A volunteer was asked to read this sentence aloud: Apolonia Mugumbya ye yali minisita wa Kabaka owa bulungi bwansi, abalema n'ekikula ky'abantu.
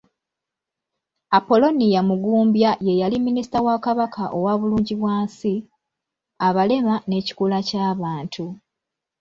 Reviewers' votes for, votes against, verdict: 2, 0, accepted